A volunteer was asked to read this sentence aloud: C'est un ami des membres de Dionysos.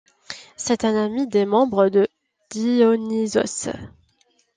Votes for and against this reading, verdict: 0, 2, rejected